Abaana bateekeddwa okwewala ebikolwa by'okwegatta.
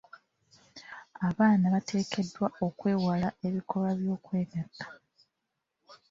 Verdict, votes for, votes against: rejected, 1, 2